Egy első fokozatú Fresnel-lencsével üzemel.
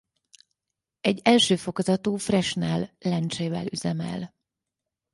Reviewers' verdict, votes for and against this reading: rejected, 2, 4